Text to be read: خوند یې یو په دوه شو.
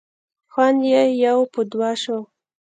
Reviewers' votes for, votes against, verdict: 1, 2, rejected